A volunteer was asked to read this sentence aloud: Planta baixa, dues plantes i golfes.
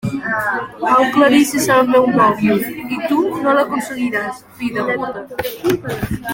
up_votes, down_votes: 0, 2